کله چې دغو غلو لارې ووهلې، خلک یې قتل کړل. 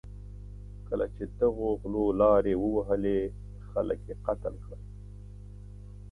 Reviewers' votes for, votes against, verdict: 2, 0, accepted